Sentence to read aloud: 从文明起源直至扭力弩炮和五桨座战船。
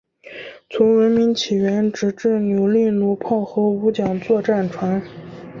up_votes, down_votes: 3, 0